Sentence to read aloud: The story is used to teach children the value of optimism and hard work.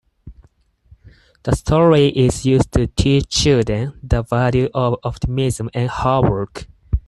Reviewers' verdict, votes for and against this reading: accepted, 4, 0